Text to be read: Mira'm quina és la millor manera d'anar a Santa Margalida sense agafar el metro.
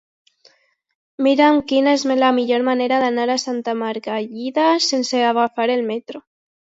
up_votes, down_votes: 0, 2